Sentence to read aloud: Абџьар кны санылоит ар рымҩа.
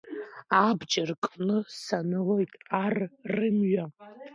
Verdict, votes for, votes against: rejected, 1, 2